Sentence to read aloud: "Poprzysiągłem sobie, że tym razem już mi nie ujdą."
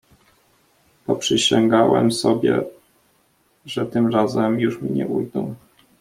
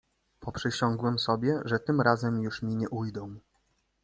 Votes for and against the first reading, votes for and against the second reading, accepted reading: 0, 2, 2, 1, second